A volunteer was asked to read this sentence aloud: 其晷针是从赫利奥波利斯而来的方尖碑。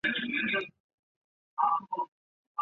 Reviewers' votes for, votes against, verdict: 0, 2, rejected